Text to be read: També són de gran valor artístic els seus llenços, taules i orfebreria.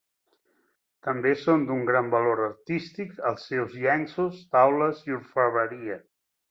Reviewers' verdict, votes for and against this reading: rejected, 0, 2